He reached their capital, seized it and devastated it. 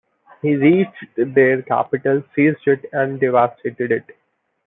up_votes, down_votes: 1, 2